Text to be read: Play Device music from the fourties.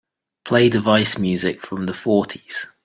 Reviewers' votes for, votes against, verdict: 2, 0, accepted